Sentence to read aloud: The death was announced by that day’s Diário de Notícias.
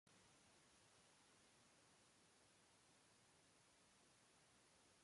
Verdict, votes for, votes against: rejected, 0, 2